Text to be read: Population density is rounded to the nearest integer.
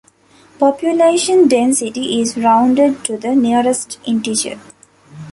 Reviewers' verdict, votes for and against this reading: accepted, 2, 0